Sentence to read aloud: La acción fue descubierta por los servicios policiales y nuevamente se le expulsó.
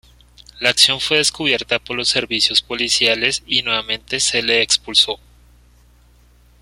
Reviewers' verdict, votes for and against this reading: accepted, 2, 0